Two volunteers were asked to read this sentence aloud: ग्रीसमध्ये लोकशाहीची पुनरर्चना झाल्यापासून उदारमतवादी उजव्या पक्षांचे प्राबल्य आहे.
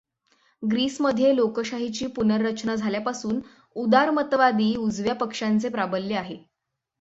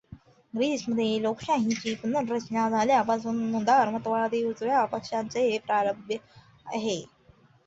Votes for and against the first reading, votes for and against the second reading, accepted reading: 6, 0, 1, 2, first